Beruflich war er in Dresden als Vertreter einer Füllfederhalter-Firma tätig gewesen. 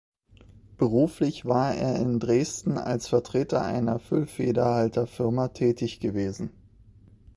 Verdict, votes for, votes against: accepted, 2, 0